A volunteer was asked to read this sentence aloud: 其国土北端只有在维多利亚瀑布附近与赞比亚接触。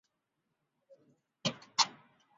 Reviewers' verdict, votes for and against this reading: rejected, 1, 6